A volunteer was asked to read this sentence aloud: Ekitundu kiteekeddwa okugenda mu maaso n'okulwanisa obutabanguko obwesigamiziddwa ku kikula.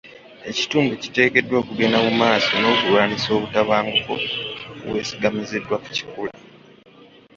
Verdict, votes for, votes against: accepted, 2, 0